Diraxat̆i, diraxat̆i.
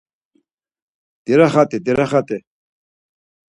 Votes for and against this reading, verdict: 4, 0, accepted